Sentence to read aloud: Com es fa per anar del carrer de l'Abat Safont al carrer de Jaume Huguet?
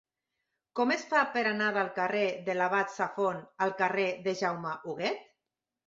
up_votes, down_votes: 3, 0